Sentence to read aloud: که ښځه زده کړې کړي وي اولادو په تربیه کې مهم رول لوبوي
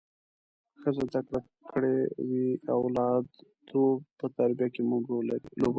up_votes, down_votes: 2, 1